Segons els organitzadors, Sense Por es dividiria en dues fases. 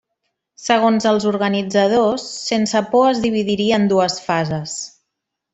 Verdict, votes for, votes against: accepted, 3, 0